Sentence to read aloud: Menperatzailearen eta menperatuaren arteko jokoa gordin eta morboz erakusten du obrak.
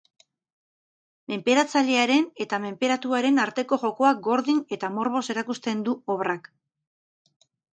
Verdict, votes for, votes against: accepted, 2, 0